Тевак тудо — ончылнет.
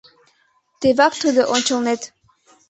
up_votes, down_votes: 2, 0